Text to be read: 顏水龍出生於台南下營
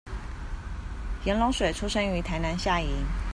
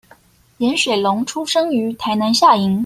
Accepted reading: second